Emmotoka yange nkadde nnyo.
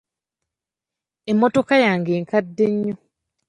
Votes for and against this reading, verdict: 2, 0, accepted